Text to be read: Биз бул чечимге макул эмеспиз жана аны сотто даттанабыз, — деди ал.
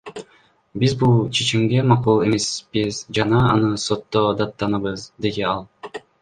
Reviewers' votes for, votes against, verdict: 1, 2, rejected